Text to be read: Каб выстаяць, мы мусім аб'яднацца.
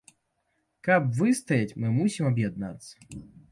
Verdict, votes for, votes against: accepted, 2, 0